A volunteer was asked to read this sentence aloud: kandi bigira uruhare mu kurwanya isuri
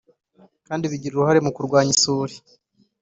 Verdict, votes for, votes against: accepted, 2, 0